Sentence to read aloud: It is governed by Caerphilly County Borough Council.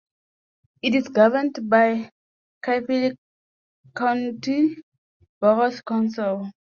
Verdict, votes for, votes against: rejected, 0, 2